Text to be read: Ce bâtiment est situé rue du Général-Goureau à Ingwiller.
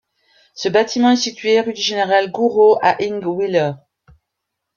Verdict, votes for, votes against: rejected, 1, 2